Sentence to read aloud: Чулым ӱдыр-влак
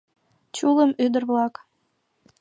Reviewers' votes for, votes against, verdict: 2, 0, accepted